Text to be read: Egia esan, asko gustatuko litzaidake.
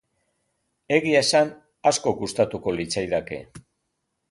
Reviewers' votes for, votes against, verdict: 2, 0, accepted